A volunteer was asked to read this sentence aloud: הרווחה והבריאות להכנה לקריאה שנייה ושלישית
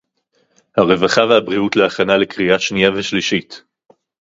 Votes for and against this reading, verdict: 2, 0, accepted